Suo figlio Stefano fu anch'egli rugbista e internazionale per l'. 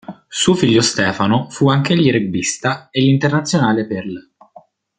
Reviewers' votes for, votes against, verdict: 2, 0, accepted